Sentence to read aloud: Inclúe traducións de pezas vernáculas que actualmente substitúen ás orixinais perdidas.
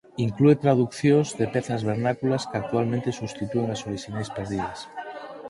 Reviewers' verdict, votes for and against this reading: rejected, 2, 4